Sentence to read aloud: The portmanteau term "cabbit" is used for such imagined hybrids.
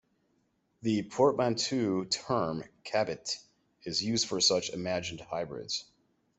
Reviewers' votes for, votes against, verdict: 0, 2, rejected